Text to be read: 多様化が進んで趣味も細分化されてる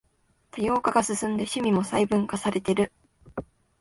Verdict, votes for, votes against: accepted, 2, 0